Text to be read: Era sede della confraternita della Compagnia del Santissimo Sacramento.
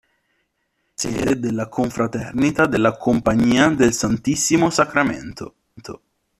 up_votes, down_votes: 1, 2